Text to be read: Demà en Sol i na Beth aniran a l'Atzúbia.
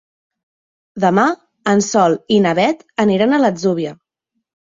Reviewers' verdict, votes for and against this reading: accepted, 2, 0